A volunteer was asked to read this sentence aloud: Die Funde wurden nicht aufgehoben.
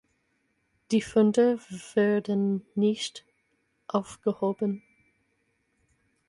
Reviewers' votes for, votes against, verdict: 0, 4, rejected